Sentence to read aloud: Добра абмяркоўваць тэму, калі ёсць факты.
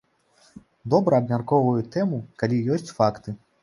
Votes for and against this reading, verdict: 1, 2, rejected